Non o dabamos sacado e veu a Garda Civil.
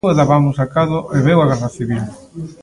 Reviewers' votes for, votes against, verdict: 0, 2, rejected